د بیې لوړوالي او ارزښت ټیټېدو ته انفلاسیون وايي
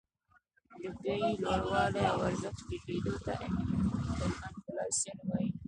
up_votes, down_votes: 0, 2